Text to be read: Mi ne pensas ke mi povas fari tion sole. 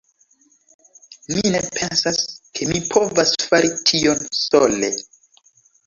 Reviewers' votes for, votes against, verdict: 2, 0, accepted